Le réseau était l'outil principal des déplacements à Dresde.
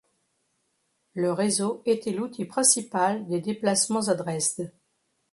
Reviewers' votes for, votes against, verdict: 2, 0, accepted